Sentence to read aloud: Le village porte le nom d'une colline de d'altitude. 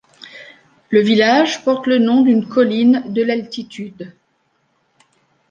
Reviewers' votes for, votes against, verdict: 0, 2, rejected